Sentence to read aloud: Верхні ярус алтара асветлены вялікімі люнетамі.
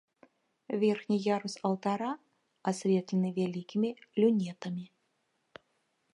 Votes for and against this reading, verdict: 1, 2, rejected